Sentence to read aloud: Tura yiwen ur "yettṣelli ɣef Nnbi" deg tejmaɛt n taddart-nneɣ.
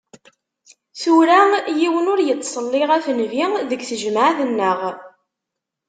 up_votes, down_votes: 0, 2